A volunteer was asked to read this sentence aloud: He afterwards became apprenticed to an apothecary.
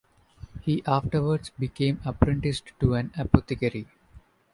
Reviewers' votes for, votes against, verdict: 2, 0, accepted